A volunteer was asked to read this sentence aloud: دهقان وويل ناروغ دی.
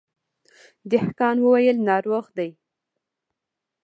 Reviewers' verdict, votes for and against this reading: rejected, 1, 2